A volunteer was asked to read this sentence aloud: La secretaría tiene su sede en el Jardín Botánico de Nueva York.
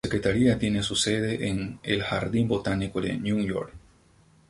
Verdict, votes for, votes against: rejected, 0, 2